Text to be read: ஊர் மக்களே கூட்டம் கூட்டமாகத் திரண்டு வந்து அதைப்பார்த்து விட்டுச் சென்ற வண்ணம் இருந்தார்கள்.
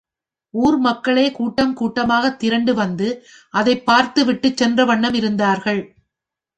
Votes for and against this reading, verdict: 2, 0, accepted